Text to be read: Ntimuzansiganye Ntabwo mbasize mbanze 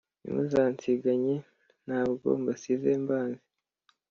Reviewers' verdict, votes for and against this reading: accepted, 2, 1